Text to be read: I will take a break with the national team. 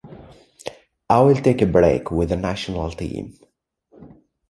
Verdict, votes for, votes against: accepted, 2, 0